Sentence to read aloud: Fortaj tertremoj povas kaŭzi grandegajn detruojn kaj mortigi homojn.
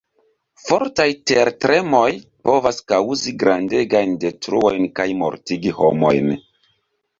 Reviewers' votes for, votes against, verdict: 1, 2, rejected